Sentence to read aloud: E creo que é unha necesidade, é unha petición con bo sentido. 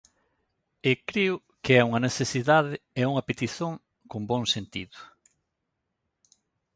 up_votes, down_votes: 0, 2